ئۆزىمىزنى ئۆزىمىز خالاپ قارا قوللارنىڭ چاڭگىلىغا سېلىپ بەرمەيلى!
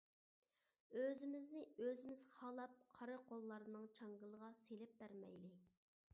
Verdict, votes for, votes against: accepted, 2, 0